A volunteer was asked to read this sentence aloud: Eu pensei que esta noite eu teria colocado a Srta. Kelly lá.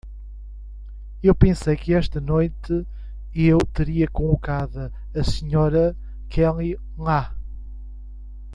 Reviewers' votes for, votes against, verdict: 1, 2, rejected